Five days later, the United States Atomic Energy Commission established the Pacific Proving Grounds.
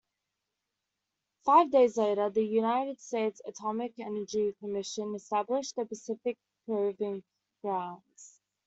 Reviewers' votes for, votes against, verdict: 2, 0, accepted